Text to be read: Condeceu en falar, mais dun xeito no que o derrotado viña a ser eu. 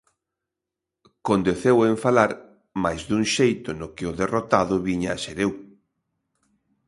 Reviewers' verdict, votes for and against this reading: accepted, 2, 0